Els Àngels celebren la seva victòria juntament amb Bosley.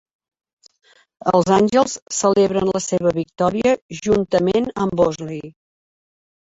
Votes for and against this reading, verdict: 3, 1, accepted